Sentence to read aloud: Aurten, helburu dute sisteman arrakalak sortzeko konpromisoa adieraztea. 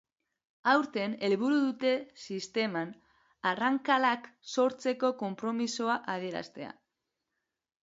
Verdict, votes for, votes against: rejected, 0, 2